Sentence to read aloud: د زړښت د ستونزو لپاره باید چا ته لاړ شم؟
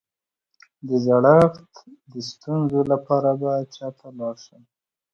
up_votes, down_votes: 2, 0